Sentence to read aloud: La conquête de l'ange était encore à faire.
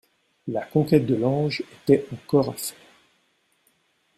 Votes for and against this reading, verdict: 0, 2, rejected